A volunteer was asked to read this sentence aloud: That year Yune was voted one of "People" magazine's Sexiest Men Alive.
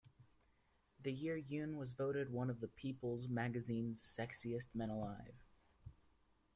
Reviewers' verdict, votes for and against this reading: rejected, 1, 2